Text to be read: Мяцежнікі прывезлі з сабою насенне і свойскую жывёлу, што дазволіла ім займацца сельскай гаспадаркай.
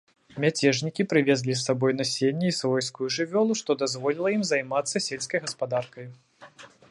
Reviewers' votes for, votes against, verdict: 2, 0, accepted